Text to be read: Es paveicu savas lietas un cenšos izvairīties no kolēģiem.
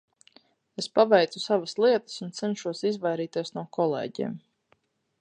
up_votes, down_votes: 4, 0